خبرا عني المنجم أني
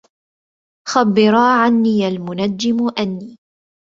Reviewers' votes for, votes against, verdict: 0, 2, rejected